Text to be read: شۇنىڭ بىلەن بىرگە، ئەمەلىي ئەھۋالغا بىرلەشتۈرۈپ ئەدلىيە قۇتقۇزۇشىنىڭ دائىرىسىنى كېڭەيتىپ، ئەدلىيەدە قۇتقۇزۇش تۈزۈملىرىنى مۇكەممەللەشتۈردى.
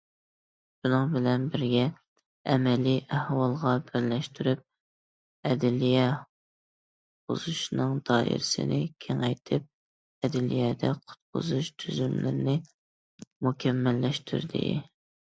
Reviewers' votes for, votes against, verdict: 0, 2, rejected